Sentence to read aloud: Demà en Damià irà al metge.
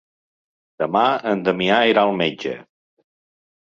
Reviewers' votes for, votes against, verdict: 4, 0, accepted